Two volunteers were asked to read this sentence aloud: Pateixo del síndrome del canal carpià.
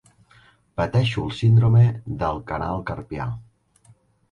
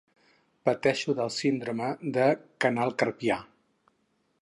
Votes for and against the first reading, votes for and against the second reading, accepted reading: 2, 1, 0, 4, first